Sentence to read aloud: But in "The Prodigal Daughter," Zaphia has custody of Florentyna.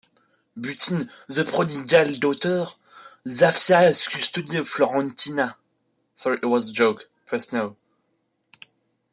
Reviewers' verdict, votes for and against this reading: rejected, 0, 2